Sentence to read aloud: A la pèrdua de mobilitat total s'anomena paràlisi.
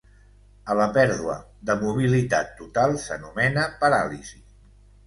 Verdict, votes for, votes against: accepted, 2, 0